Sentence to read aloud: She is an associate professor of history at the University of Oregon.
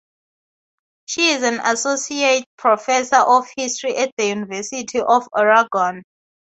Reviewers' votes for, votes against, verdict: 0, 2, rejected